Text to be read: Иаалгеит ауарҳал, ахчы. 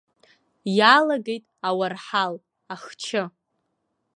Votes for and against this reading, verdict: 1, 2, rejected